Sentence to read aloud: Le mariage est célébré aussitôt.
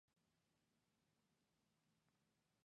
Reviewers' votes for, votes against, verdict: 1, 2, rejected